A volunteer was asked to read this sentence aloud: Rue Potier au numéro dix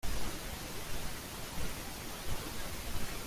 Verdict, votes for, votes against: rejected, 0, 2